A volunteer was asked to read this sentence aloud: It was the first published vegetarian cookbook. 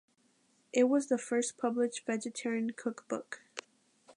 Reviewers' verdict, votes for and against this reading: accepted, 2, 1